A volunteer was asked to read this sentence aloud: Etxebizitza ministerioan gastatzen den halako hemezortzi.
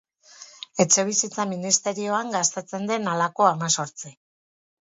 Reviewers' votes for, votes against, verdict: 2, 2, rejected